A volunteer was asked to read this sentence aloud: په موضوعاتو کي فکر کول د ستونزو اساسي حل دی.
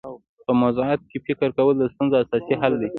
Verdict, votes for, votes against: accepted, 2, 0